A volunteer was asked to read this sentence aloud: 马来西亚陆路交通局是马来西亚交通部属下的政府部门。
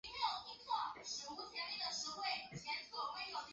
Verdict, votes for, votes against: rejected, 1, 3